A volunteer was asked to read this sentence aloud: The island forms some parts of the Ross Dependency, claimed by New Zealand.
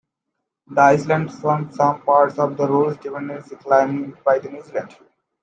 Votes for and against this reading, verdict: 0, 2, rejected